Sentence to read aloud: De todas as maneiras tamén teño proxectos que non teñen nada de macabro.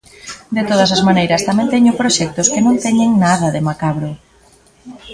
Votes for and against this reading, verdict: 2, 1, accepted